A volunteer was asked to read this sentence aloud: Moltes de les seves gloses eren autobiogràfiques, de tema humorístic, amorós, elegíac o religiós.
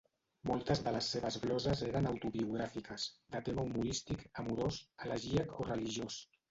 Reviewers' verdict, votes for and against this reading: rejected, 1, 2